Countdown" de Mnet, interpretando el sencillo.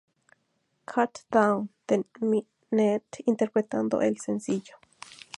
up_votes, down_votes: 0, 2